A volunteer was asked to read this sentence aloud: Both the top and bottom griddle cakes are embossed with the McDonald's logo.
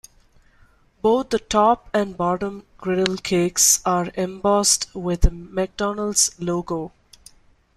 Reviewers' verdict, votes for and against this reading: rejected, 0, 2